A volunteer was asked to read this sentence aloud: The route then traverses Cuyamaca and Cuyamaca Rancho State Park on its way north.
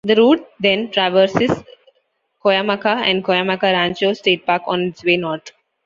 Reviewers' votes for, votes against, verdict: 2, 0, accepted